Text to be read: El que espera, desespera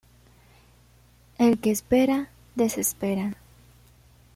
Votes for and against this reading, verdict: 2, 1, accepted